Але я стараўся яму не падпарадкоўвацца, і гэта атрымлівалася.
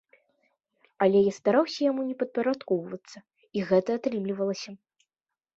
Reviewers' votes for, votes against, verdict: 2, 0, accepted